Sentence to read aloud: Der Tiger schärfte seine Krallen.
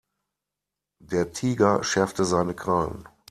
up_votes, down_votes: 2, 0